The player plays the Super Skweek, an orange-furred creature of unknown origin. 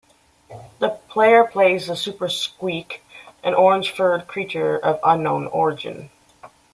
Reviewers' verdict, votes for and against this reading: accepted, 2, 0